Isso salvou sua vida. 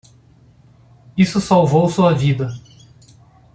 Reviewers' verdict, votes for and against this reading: accepted, 2, 0